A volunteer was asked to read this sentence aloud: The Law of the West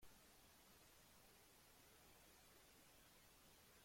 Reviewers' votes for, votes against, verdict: 0, 2, rejected